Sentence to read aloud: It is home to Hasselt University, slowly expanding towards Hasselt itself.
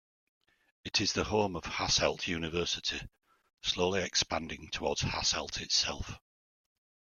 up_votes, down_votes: 0, 2